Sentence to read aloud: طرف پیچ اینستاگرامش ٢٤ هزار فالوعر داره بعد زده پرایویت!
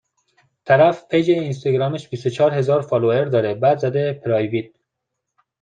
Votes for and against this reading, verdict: 0, 2, rejected